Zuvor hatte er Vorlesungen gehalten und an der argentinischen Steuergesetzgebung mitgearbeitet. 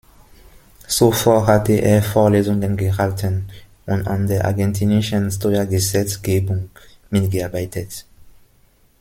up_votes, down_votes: 1, 2